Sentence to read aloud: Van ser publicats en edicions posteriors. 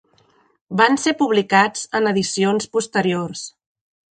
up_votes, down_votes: 3, 0